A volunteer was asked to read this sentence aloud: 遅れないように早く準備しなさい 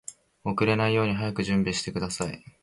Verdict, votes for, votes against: accepted, 3, 0